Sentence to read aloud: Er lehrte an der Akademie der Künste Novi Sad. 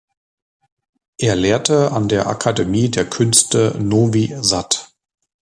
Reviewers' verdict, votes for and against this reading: accepted, 2, 0